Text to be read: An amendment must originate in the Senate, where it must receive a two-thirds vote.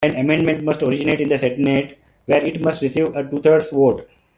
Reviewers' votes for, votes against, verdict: 1, 2, rejected